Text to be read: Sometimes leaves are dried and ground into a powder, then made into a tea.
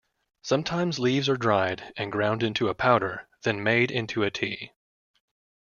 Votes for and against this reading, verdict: 2, 0, accepted